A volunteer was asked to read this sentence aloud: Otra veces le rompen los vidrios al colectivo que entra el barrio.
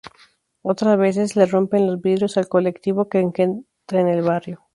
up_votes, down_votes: 0, 2